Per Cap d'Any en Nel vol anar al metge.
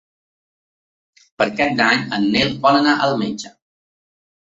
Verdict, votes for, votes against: accepted, 2, 0